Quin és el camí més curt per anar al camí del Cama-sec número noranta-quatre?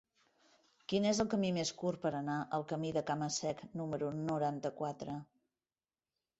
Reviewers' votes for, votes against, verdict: 0, 2, rejected